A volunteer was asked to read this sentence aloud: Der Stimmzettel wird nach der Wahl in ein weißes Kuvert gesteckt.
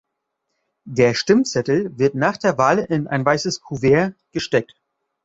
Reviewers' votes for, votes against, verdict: 2, 0, accepted